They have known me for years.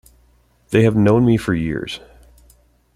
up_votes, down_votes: 2, 0